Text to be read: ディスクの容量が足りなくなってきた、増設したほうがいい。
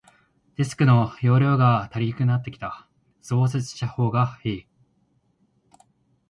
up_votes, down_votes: 3, 1